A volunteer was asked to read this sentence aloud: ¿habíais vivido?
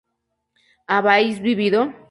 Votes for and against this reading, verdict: 0, 2, rejected